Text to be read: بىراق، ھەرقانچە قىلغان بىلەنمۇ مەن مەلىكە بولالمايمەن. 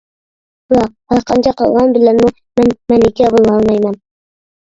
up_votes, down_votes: 0, 2